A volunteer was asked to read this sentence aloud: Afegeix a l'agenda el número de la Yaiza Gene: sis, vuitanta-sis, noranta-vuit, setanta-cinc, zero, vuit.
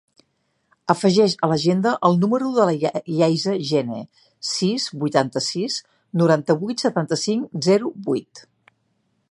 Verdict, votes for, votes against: rejected, 1, 2